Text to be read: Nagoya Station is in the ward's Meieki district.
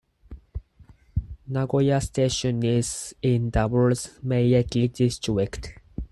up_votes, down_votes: 0, 4